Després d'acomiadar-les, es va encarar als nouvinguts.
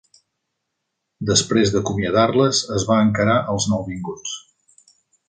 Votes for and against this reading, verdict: 2, 0, accepted